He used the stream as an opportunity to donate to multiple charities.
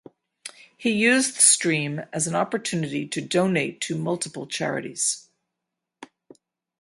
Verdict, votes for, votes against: accepted, 8, 0